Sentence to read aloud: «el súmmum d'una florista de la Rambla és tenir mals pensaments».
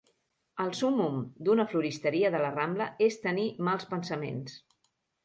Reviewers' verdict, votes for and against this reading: rejected, 0, 2